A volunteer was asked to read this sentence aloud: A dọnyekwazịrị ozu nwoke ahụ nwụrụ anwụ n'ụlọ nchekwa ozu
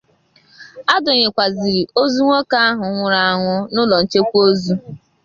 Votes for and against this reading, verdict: 6, 0, accepted